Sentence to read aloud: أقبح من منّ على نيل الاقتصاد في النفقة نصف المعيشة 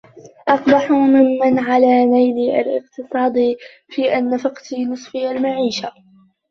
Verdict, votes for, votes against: rejected, 0, 2